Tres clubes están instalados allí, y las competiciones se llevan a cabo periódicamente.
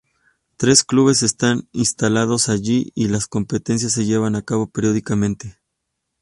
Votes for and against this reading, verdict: 0, 2, rejected